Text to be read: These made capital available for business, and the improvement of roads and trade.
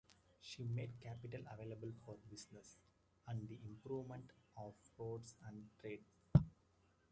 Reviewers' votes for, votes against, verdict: 0, 2, rejected